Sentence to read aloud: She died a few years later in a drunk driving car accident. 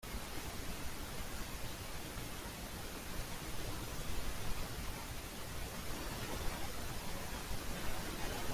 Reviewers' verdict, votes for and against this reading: rejected, 0, 2